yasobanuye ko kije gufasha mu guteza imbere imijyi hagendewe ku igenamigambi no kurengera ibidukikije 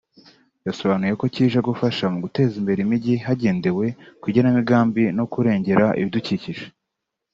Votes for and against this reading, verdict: 4, 0, accepted